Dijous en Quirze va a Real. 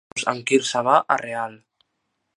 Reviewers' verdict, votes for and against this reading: rejected, 1, 2